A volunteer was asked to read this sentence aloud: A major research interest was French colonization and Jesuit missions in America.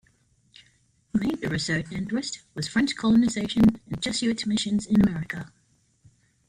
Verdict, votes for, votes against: accepted, 2, 1